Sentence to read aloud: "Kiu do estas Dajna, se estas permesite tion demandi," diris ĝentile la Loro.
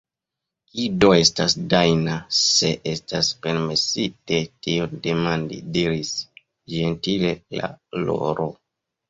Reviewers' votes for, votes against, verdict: 0, 2, rejected